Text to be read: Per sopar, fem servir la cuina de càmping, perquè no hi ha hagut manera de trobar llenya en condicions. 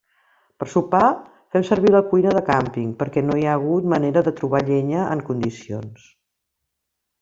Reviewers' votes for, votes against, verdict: 1, 2, rejected